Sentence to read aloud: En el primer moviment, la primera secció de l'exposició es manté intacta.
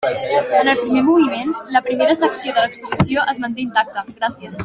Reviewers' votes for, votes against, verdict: 2, 3, rejected